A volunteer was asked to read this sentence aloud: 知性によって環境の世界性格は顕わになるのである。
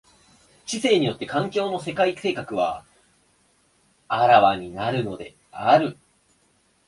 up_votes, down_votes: 2, 0